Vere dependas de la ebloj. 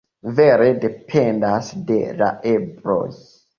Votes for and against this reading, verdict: 1, 2, rejected